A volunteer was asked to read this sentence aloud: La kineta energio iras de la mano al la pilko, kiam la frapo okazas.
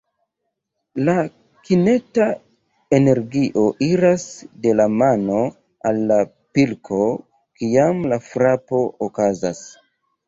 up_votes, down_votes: 2, 0